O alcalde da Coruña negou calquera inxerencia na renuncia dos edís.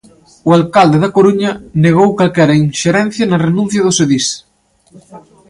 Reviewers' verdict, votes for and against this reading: accepted, 2, 0